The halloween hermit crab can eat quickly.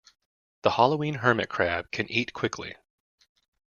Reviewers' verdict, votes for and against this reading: accepted, 2, 0